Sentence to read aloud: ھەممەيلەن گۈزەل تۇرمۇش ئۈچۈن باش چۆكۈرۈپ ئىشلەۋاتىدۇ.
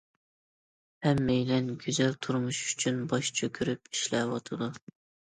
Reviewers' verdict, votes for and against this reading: accepted, 2, 0